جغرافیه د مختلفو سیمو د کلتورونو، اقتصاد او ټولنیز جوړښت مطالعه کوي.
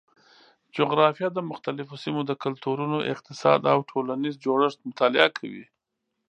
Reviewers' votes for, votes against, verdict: 2, 0, accepted